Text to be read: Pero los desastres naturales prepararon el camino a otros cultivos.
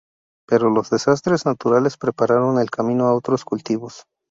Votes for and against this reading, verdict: 2, 0, accepted